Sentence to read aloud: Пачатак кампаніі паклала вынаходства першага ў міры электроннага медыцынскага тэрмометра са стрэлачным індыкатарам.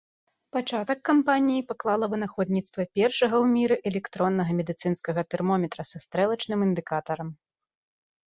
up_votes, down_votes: 1, 2